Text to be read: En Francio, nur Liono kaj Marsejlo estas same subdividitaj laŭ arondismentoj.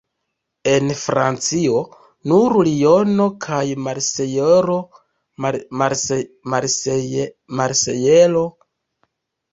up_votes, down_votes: 0, 2